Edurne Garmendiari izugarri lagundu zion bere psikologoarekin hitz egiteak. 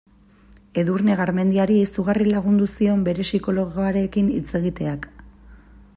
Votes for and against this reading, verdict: 2, 0, accepted